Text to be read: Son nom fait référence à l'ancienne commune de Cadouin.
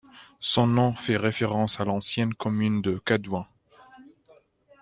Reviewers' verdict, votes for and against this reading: accepted, 2, 0